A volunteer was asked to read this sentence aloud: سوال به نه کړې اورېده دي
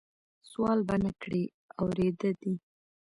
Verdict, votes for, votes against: rejected, 1, 2